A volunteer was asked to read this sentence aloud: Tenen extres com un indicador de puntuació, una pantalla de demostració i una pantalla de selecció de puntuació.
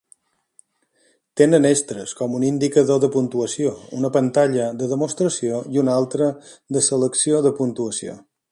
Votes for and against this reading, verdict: 0, 5, rejected